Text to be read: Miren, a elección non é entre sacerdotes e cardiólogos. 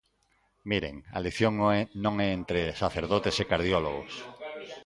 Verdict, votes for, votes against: rejected, 0, 2